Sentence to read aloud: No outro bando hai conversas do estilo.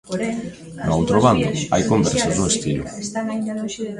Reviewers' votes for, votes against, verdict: 0, 2, rejected